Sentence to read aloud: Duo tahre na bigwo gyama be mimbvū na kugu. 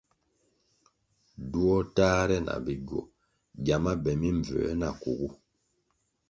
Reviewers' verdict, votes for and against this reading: accepted, 2, 0